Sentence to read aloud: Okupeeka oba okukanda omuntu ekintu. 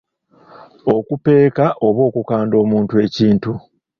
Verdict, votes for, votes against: accepted, 3, 0